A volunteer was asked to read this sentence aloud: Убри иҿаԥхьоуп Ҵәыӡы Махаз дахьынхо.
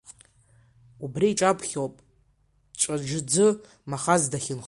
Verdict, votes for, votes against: rejected, 0, 2